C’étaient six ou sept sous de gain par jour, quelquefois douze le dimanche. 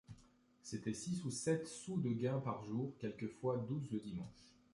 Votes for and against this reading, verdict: 2, 0, accepted